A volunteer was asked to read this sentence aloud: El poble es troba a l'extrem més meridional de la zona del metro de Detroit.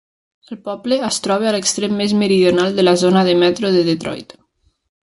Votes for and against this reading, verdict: 1, 2, rejected